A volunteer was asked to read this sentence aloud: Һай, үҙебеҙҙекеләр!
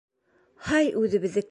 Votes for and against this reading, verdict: 1, 3, rejected